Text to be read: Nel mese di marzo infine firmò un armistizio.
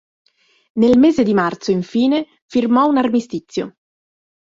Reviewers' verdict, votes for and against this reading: accepted, 2, 0